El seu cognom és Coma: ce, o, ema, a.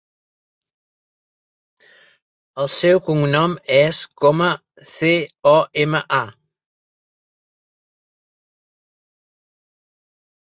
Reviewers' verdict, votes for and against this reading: accepted, 2, 0